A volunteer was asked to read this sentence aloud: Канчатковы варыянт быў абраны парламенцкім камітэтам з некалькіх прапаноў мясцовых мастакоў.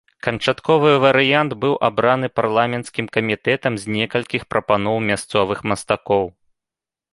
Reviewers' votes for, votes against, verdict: 3, 0, accepted